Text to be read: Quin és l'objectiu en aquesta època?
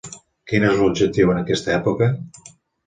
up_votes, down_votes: 2, 0